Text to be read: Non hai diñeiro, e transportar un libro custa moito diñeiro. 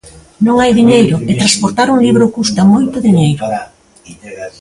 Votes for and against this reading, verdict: 1, 2, rejected